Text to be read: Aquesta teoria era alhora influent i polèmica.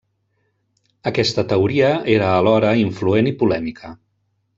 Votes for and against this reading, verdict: 0, 2, rejected